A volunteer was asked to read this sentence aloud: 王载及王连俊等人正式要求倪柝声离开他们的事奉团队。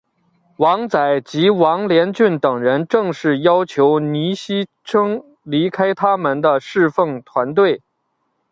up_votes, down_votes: 2, 0